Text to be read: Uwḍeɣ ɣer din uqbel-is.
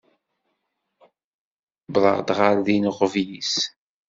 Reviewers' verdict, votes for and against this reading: rejected, 1, 2